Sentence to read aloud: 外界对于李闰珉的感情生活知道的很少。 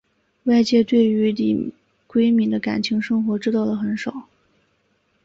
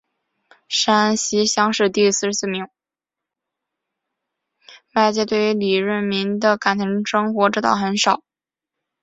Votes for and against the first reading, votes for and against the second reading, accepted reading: 3, 0, 1, 2, first